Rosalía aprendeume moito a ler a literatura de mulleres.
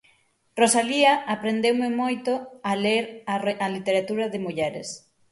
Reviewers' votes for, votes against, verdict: 0, 6, rejected